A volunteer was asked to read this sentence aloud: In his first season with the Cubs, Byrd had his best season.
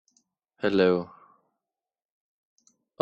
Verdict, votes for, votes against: rejected, 0, 2